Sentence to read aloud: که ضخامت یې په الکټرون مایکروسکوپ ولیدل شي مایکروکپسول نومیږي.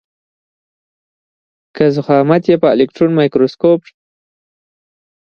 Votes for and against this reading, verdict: 1, 2, rejected